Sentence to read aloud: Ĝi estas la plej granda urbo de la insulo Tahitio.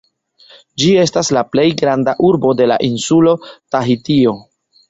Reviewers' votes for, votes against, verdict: 0, 2, rejected